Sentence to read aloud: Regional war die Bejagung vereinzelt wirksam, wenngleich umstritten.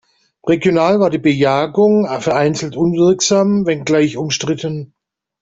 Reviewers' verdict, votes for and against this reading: accepted, 2, 0